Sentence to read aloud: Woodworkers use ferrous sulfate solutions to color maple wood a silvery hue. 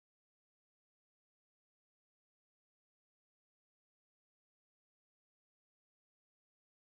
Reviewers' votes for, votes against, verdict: 0, 2, rejected